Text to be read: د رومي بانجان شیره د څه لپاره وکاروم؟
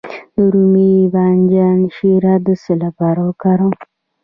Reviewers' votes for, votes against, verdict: 1, 2, rejected